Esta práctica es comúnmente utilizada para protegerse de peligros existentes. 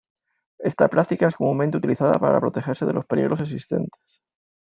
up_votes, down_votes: 2, 0